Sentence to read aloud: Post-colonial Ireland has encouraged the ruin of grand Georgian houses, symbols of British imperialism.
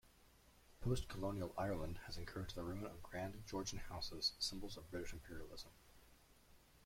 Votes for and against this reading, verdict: 2, 1, accepted